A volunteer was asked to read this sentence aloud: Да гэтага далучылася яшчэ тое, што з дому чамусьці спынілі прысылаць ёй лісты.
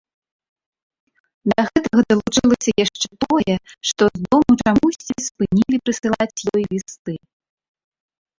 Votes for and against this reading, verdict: 0, 2, rejected